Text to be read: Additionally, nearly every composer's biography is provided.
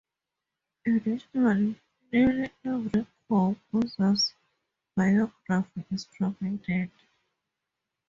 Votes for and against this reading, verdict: 6, 8, rejected